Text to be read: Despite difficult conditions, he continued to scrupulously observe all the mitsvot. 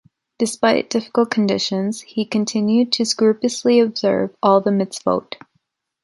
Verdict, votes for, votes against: rejected, 1, 2